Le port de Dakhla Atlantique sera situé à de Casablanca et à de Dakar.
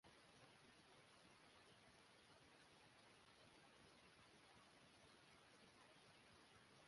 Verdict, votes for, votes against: rejected, 0, 2